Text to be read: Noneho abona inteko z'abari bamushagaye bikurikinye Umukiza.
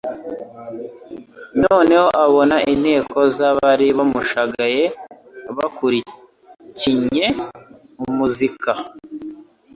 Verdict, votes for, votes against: rejected, 1, 2